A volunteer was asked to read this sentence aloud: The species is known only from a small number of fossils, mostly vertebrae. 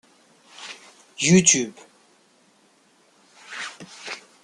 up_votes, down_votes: 0, 2